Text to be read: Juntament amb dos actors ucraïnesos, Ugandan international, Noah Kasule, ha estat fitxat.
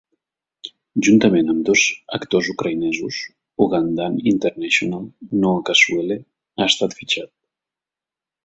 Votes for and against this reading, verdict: 3, 0, accepted